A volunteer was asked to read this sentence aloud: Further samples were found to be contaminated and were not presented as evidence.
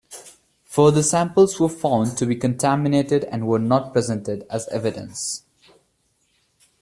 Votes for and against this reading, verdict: 1, 2, rejected